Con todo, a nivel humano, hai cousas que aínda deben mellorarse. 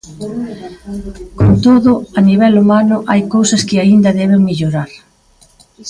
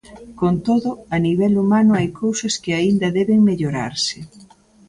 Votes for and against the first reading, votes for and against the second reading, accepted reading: 0, 2, 2, 0, second